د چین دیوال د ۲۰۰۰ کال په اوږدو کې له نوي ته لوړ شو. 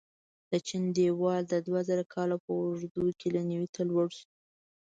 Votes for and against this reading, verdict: 0, 2, rejected